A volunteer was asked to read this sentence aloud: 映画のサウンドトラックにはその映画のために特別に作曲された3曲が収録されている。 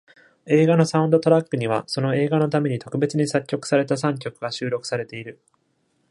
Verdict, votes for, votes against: rejected, 0, 2